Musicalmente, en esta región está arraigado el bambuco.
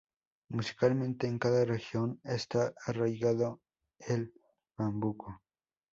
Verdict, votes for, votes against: rejected, 0, 2